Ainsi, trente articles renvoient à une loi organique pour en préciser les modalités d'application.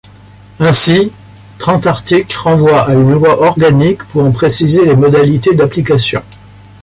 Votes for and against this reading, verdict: 2, 0, accepted